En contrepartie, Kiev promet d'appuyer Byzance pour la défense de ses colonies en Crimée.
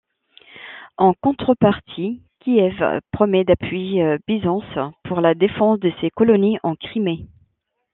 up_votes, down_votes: 2, 0